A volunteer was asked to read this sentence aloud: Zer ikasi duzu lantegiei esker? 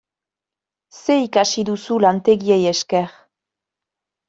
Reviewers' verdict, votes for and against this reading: accepted, 2, 0